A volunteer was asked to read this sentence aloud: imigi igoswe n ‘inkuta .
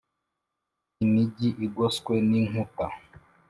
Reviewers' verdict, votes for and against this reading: accepted, 2, 0